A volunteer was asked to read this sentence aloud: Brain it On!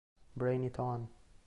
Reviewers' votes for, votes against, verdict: 3, 0, accepted